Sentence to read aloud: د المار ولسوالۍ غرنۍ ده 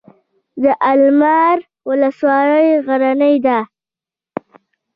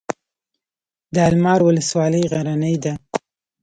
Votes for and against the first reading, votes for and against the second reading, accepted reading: 1, 2, 2, 0, second